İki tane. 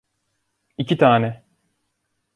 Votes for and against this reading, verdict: 2, 0, accepted